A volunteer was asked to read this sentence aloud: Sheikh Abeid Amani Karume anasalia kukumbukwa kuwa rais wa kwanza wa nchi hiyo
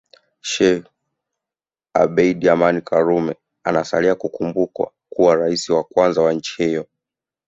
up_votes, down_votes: 2, 0